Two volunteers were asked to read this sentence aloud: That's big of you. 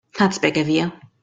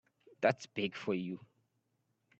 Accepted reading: first